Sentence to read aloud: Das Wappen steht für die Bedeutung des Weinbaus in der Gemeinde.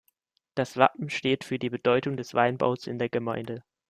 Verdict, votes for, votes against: accepted, 2, 0